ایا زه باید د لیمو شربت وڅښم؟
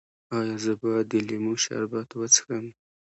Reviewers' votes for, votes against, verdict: 0, 2, rejected